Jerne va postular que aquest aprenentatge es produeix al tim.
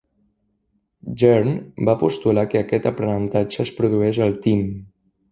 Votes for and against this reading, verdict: 2, 1, accepted